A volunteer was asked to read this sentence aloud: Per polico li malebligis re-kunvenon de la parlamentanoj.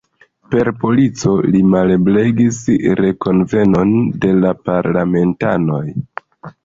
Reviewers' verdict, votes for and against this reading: rejected, 1, 2